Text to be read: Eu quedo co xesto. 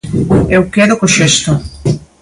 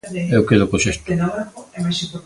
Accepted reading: first